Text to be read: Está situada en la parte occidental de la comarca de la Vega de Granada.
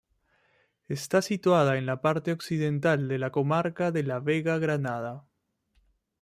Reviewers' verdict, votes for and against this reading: rejected, 1, 2